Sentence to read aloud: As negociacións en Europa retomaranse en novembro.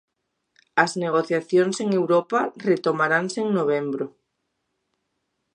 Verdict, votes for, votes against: accepted, 2, 0